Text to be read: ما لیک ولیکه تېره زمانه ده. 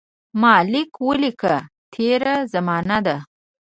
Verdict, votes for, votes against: rejected, 0, 2